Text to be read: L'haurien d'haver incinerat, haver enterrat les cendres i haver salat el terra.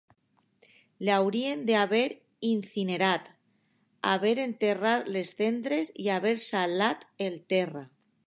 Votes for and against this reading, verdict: 1, 2, rejected